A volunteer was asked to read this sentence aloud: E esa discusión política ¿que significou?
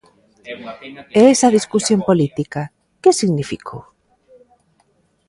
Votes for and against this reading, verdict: 1, 2, rejected